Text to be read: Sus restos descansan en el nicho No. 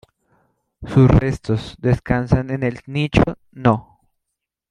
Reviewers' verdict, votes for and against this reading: accepted, 2, 0